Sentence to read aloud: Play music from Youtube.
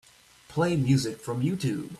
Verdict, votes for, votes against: accepted, 2, 0